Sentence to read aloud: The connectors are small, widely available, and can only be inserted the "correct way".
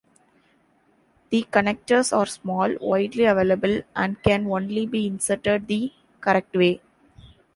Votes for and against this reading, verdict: 2, 0, accepted